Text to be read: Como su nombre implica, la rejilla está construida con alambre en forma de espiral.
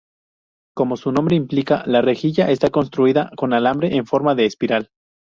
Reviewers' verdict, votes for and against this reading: accepted, 2, 0